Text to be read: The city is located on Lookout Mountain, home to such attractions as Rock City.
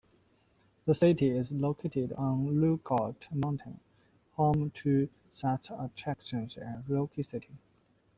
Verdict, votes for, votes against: accepted, 2, 0